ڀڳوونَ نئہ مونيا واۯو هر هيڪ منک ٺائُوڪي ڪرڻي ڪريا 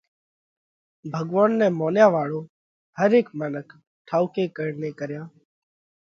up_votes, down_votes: 3, 0